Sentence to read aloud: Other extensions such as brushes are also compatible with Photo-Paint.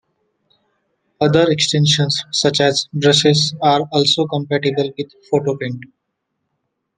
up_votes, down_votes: 1, 2